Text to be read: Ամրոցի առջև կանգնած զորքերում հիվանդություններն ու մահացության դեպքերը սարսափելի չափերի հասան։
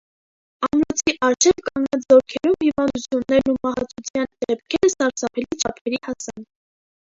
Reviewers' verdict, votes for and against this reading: rejected, 0, 2